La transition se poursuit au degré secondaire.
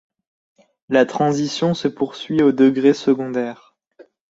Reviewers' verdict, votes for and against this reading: accepted, 2, 0